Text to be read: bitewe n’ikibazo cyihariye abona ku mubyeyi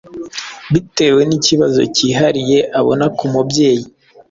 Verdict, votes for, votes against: accepted, 2, 0